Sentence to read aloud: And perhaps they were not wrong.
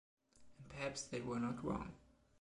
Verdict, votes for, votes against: rejected, 1, 2